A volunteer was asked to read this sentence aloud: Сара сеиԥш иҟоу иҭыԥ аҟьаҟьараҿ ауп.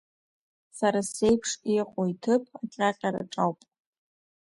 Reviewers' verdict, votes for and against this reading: accepted, 2, 0